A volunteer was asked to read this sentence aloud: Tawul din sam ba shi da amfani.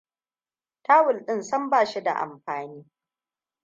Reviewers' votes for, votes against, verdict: 2, 0, accepted